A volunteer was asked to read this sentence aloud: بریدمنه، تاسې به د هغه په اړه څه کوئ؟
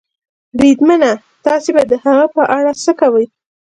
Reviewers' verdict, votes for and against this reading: accepted, 2, 0